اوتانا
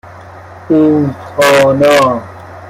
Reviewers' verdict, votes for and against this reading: rejected, 1, 2